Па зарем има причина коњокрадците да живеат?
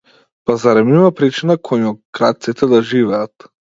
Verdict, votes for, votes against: accepted, 2, 0